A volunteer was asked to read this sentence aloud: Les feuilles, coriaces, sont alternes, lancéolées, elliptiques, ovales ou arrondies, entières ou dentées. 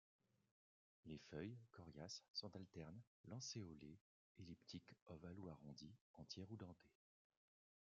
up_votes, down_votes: 0, 2